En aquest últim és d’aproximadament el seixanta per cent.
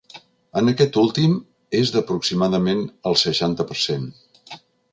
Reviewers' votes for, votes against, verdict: 3, 0, accepted